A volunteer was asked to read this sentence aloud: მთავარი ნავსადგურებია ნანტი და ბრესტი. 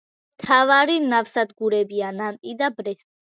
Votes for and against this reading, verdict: 2, 0, accepted